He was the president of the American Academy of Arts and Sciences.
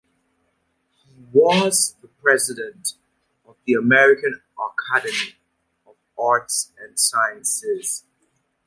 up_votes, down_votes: 0, 2